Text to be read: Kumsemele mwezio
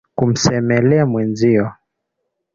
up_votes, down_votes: 2, 0